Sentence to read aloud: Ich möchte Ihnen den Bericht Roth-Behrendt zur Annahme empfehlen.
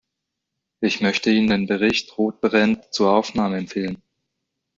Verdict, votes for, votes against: rejected, 0, 2